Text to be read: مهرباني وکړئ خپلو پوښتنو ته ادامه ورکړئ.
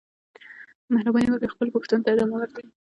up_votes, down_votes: 2, 0